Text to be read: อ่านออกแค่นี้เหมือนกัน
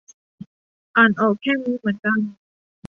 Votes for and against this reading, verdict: 2, 0, accepted